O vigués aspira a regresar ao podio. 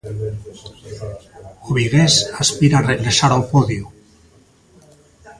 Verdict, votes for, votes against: rejected, 1, 2